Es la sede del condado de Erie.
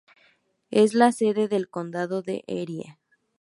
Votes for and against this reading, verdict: 2, 2, rejected